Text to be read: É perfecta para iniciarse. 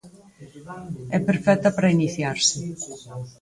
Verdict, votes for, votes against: rejected, 2, 4